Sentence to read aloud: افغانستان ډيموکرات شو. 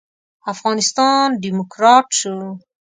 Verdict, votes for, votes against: accepted, 2, 0